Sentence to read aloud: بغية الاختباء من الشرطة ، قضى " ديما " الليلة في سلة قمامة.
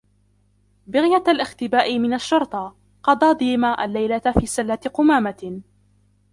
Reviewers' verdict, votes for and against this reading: rejected, 0, 2